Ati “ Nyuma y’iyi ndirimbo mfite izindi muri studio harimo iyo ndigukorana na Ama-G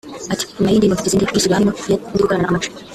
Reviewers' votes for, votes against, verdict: 0, 2, rejected